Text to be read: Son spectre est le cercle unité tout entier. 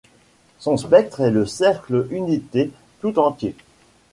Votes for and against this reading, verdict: 2, 0, accepted